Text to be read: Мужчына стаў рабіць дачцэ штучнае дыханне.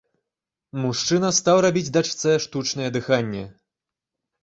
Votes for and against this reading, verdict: 2, 0, accepted